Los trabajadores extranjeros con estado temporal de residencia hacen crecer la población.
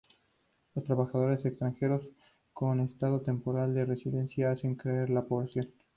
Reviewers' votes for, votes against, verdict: 2, 0, accepted